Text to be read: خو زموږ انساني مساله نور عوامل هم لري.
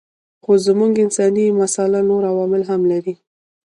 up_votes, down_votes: 2, 1